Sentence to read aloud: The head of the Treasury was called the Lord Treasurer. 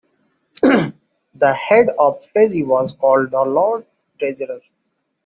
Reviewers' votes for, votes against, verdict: 0, 2, rejected